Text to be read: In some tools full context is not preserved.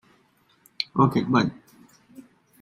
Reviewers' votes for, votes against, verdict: 0, 2, rejected